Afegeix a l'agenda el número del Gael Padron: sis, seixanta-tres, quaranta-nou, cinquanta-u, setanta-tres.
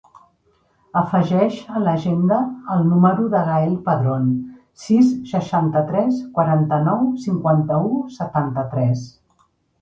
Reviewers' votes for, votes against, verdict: 0, 2, rejected